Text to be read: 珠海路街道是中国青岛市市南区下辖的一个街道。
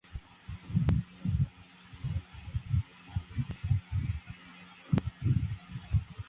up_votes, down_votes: 4, 3